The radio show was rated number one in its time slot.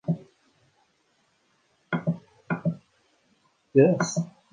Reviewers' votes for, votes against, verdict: 0, 2, rejected